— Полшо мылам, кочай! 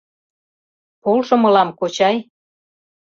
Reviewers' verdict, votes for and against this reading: accepted, 2, 0